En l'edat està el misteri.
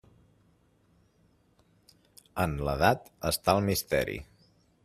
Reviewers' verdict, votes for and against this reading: rejected, 1, 2